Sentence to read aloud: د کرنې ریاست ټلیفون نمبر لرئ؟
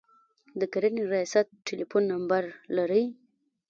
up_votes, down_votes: 0, 2